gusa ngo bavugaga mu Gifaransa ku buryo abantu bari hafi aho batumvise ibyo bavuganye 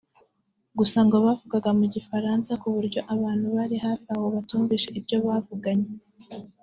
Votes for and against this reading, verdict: 2, 0, accepted